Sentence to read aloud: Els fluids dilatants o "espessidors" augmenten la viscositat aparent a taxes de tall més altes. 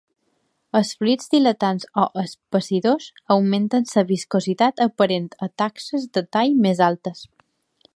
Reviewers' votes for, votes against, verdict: 1, 2, rejected